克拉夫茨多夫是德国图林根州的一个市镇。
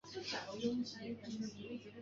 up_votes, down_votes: 1, 2